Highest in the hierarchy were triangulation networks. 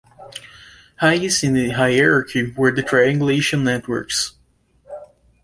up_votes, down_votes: 0, 2